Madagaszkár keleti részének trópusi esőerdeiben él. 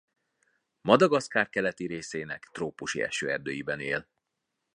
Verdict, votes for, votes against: accepted, 2, 0